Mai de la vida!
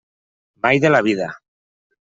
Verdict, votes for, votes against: accepted, 2, 0